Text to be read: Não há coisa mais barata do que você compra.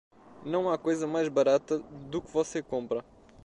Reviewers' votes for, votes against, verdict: 2, 0, accepted